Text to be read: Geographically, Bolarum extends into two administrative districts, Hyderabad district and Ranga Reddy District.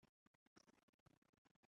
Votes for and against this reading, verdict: 0, 2, rejected